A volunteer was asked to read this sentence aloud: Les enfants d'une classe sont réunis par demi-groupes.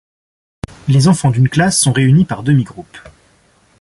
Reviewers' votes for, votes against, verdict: 2, 0, accepted